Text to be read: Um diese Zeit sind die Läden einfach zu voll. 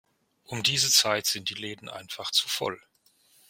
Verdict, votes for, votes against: rejected, 1, 2